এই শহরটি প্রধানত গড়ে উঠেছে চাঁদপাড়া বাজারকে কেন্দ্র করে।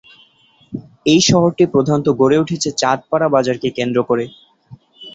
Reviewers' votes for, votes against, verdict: 2, 0, accepted